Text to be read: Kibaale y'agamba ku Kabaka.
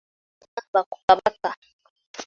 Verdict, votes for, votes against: rejected, 1, 3